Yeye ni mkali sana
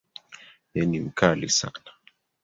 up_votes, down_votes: 1, 2